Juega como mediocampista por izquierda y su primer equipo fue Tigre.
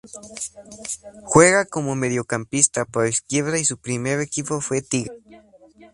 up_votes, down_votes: 0, 2